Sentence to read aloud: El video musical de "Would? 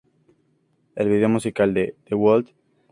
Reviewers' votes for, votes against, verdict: 2, 0, accepted